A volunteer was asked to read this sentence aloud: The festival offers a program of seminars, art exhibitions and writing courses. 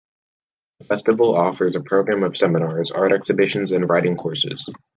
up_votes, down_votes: 2, 1